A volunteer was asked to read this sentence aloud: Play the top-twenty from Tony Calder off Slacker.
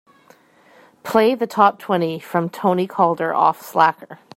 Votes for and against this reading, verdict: 2, 1, accepted